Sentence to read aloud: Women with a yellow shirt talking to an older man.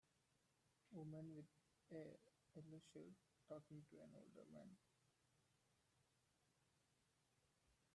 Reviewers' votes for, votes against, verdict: 1, 2, rejected